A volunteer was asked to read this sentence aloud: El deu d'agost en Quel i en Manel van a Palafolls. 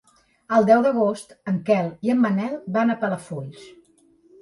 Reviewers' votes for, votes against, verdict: 3, 0, accepted